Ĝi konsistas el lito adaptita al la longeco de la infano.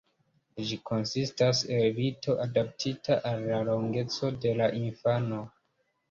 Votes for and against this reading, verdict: 2, 1, accepted